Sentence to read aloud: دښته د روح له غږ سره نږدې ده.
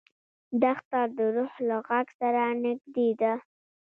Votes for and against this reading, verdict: 0, 2, rejected